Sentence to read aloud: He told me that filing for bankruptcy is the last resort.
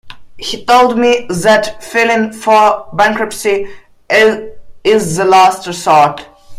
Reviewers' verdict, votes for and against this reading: rejected, 0, 2